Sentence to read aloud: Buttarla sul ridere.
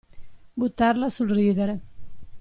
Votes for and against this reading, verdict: 2, 0, accepted